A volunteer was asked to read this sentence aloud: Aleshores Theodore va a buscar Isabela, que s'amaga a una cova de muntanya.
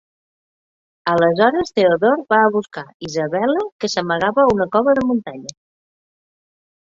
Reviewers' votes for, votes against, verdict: 0, 2, rejected